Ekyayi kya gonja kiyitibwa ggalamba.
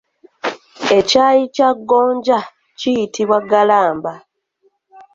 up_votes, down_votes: 2, 0